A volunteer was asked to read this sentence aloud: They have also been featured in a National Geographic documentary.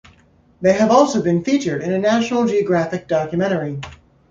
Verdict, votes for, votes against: accepted, 2, 0